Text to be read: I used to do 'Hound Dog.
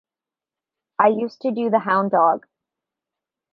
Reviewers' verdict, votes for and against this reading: rejected, 1, 2